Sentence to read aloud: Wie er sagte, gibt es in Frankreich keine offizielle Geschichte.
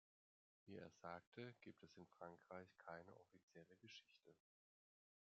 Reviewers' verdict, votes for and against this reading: rejected, 1, 2